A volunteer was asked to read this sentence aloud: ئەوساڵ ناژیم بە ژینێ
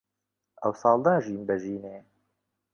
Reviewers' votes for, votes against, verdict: 3, 0, accepted